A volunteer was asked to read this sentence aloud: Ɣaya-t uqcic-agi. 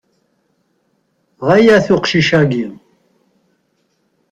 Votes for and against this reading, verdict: 4, 0, accepted